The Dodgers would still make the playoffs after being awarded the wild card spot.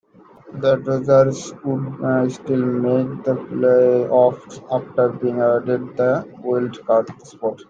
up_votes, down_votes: 0, 2